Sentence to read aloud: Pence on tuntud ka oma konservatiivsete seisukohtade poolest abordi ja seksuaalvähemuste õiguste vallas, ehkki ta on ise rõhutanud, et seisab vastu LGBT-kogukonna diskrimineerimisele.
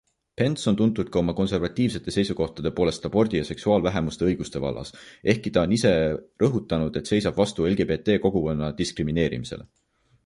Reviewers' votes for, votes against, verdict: 2, 0, accepted